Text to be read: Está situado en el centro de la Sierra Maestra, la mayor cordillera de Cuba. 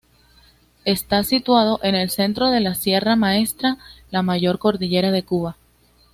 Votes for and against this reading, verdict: 2, 0, accepted